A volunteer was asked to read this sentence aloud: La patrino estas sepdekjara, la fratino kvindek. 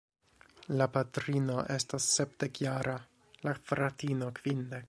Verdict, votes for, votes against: accepted, 2, 0